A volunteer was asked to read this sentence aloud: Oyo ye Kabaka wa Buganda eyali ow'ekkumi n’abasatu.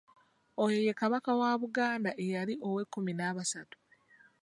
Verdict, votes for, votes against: accepted, 2, 0